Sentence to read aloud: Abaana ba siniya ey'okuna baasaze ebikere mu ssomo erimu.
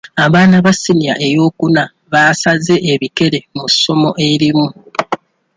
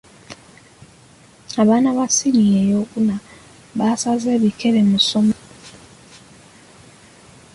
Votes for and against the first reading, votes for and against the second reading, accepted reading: 2, 1, 0, 2, first